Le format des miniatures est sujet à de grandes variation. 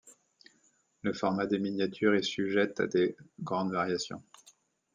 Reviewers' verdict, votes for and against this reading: rejected, 1, 2